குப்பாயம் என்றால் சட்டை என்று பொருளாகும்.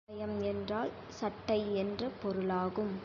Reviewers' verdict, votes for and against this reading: rejected, 0, 2